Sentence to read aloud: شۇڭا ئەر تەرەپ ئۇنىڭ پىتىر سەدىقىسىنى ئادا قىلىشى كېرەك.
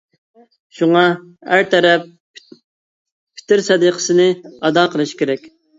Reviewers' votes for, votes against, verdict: 0, 2, rejected